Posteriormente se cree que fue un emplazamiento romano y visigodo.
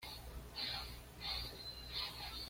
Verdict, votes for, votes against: rejected, 1, 2